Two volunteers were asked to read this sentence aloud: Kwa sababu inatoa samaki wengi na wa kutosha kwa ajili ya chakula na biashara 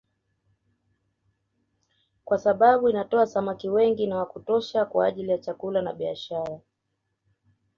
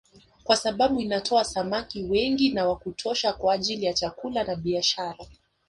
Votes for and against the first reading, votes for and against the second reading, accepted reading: 2, 0, 0, 2, first